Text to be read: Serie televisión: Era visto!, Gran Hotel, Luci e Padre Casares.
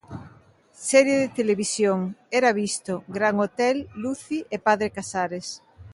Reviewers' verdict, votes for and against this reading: accepted, 2, 1